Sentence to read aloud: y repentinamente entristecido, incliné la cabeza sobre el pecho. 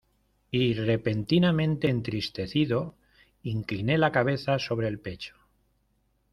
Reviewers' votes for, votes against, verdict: 2, 0, accepted